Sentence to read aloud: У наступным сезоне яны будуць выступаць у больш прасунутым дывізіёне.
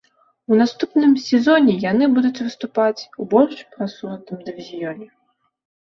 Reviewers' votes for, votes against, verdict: 2, 0, accepted